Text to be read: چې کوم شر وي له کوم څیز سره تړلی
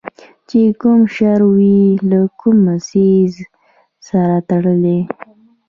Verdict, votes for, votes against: rejected, 1, 2